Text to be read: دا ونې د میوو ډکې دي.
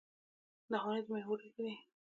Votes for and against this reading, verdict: 1, 2, rejected